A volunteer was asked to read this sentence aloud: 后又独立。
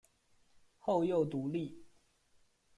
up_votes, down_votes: 2, 0